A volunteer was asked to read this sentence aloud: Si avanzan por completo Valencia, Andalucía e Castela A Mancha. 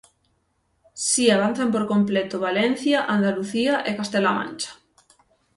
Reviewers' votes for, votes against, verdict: 6, 0, accepted